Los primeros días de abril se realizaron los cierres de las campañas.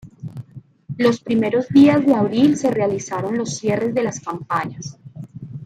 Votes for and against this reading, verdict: 2, 0, accepted